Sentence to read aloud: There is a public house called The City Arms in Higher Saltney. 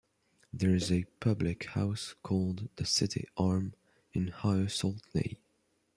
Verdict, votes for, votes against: rejected, 1, 2